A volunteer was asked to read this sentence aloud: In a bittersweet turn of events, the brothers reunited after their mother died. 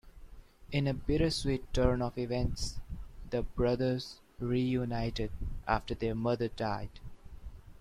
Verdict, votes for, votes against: accepted, 3, 0